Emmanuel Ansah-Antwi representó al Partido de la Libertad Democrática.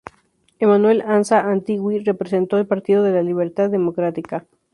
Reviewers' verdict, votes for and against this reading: rejected, 0, 2